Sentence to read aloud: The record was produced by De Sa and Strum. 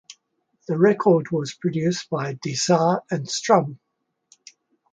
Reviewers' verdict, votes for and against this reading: accepted, 2, 0